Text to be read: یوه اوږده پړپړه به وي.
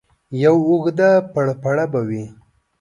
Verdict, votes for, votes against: accepted, 2, 0